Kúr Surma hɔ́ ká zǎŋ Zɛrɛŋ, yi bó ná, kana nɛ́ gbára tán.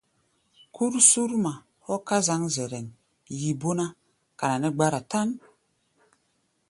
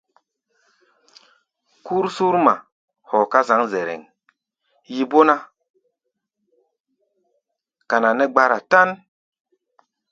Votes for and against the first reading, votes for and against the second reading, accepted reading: 2, 0, 1, 2, first